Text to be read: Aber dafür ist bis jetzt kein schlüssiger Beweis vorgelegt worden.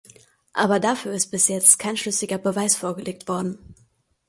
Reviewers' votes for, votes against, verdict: 2, 0, accepted